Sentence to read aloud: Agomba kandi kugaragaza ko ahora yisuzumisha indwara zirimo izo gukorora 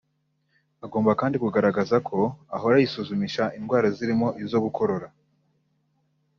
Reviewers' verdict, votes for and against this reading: accepted, 3, 1